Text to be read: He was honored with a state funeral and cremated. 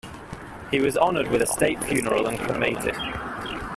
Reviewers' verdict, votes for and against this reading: rejected, 1, 2